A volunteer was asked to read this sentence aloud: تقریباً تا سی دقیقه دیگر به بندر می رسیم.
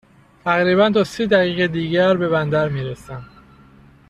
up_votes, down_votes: 0, 2